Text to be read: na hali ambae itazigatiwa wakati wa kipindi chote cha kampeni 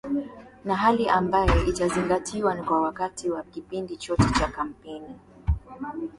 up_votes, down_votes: 0, 2